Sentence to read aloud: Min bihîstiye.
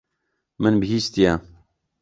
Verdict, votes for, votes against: accepted, 2, 0